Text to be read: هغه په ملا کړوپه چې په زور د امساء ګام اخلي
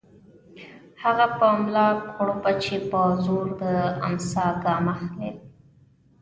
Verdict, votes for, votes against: accepted, 2, 1